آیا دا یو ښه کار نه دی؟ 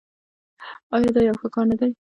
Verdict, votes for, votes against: accepted, 2, 0